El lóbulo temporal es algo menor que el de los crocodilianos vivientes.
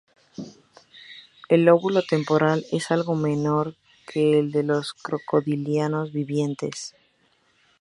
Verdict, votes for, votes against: rejected, 0, 2